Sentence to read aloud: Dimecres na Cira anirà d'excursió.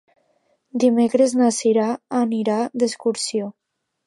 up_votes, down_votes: 2, 0